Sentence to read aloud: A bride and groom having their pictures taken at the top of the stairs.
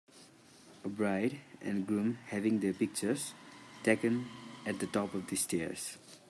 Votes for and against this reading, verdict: 1, 2, rejected